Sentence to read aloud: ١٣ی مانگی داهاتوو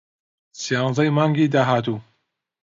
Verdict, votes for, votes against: rejected, 0, 2